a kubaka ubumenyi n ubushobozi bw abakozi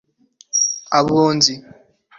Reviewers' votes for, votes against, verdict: 0, 2, rejected